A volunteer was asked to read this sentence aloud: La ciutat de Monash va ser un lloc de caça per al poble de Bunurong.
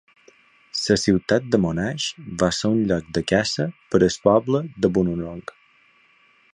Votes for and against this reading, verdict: 1, 2, rejected